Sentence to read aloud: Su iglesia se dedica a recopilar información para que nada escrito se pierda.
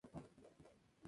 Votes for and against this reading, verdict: 0, 2, rejected